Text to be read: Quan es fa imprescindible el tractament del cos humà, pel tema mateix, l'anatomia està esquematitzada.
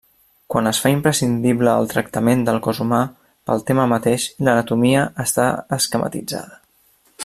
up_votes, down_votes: 3, 0